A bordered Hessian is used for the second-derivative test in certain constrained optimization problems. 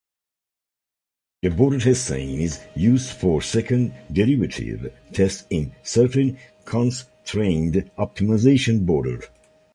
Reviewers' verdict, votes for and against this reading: rejected, 1, 2